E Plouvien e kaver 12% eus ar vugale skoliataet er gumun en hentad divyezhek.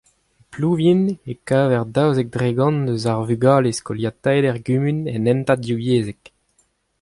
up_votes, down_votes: 0, 2